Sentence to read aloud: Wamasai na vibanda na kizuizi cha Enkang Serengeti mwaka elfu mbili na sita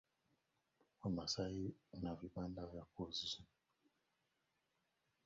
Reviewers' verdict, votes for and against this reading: rejected, 0, 2